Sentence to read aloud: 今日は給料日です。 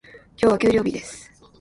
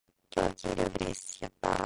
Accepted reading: first